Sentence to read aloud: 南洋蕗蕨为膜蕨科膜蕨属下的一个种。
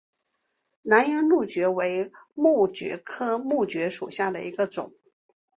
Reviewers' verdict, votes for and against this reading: accepted, 2, 1